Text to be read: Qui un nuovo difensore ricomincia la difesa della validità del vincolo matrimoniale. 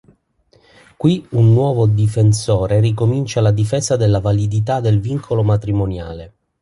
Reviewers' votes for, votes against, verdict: 3, 0, accepted